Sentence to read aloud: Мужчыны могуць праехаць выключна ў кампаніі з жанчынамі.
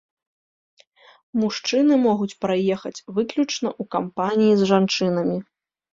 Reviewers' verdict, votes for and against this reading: rejected, 1, 2